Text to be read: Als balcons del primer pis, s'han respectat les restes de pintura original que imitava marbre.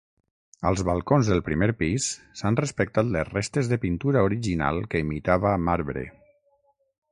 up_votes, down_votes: 6, 0